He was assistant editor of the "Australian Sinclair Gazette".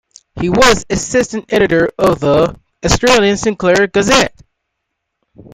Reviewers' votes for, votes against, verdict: 2, 1, accepted